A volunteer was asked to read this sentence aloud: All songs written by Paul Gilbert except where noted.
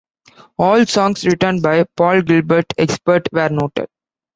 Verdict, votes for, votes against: rejected, 0, 2